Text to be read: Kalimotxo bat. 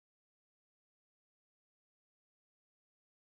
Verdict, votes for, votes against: rejected, 0, 2